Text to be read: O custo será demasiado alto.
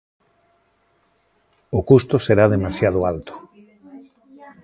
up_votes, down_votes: 2, 0